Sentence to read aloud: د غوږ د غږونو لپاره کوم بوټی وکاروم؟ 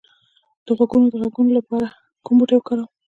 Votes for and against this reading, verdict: 2, 0, accepted